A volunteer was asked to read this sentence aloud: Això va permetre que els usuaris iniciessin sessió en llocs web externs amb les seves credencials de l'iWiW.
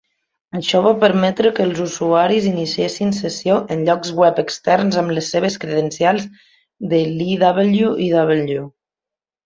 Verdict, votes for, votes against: rejected, 0, 2